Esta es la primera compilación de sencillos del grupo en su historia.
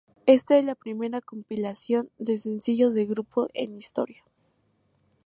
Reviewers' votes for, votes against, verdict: 0, 2, rejected